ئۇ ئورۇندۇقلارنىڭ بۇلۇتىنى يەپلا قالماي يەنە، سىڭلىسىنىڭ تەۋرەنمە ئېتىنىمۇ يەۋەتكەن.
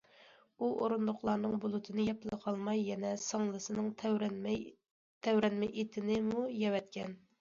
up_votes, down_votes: 0, 2